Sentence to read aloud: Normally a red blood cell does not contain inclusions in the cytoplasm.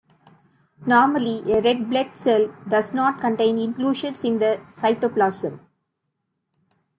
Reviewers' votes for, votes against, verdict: 1, 2, rejected